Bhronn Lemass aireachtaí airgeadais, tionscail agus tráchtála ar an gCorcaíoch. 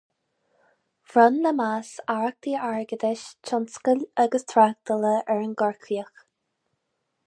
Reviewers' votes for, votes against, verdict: 4, 2, accepted